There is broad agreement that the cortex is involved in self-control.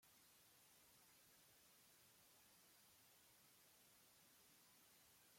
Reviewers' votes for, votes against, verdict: 0, 2, rejected